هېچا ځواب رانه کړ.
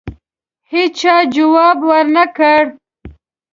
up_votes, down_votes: 0, 2